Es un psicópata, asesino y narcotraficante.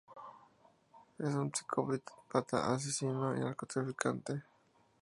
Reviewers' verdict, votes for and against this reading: rejected, 0, 4